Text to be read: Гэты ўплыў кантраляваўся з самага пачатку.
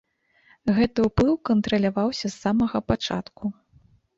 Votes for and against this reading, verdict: 1, 2, rejected